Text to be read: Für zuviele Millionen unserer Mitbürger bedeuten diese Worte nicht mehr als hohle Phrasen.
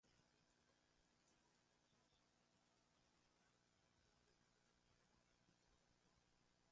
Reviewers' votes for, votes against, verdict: 0, 2, rejected